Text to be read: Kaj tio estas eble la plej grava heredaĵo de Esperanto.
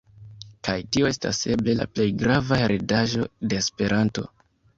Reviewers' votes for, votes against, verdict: 2, 1, accepted